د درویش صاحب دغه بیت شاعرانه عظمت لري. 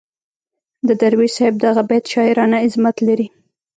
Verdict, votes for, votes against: rejected, 0, 2